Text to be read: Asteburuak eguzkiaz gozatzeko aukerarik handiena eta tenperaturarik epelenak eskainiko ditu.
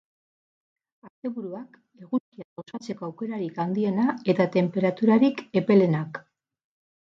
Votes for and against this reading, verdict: 4, 8, rejected